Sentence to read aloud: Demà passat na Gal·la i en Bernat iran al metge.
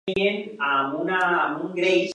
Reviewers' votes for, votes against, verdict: 0, 2, rejected